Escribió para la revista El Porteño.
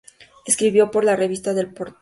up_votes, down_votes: 0, 2